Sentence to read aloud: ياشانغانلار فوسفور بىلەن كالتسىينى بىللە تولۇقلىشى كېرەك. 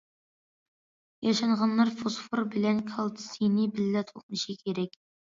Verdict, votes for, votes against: accepted, 2, 0